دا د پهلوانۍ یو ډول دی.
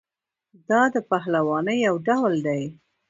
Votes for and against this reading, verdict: 1, 2, rejected